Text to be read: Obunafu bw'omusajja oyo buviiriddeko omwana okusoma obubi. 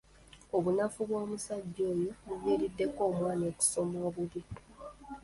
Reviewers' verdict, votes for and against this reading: accepted, 2, 1